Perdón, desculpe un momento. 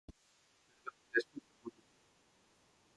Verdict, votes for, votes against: rejected, 0, 4